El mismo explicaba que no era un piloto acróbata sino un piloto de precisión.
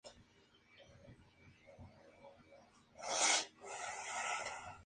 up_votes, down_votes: 0, 2